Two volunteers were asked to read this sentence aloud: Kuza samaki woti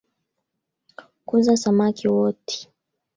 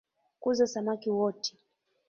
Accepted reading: second